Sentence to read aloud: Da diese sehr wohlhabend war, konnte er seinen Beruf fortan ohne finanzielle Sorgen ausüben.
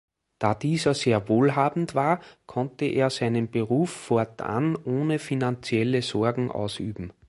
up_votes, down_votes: 2, 0